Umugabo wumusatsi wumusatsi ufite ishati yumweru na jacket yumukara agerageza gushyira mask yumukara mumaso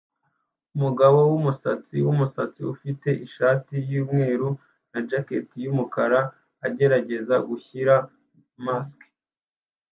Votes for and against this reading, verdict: 0, 2, rejected